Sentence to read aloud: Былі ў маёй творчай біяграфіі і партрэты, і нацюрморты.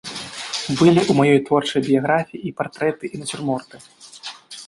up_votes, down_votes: 1, 2